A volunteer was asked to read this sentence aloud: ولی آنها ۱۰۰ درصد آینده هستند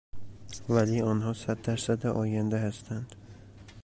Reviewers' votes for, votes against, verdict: 0, 2, rejected